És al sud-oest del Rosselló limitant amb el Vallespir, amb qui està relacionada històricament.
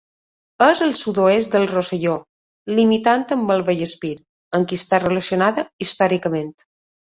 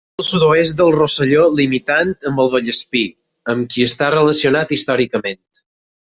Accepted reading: first